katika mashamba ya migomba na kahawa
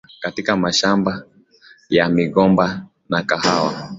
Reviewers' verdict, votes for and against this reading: accepted, 2, 0